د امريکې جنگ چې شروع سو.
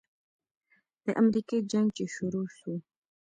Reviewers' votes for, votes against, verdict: 1, 2, rejected